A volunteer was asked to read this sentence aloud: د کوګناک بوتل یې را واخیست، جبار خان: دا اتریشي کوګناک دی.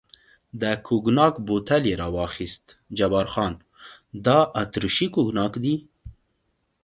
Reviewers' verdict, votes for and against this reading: accepted, 2, 0